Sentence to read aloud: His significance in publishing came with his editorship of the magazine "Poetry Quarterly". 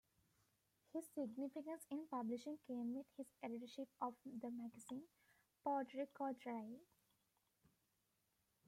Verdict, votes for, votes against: rejected, 1, 2